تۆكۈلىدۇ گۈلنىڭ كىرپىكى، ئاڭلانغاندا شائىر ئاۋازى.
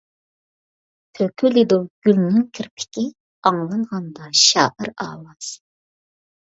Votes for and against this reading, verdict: 2, 1, accepted